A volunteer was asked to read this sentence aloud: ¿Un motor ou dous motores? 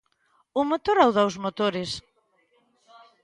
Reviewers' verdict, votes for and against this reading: rejected, 1, 2